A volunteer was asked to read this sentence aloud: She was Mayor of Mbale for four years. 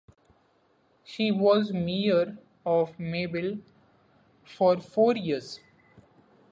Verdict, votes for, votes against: rejected, 0, 2